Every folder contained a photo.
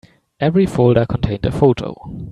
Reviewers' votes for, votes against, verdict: 2, 0, accepted